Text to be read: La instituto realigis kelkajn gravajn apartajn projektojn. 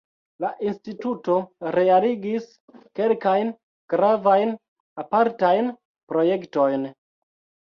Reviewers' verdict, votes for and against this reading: rejected, 1, 2